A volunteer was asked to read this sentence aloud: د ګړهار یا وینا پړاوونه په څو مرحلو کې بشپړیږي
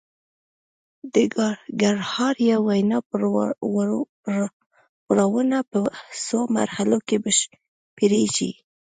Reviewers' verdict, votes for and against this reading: rejected, 1, 2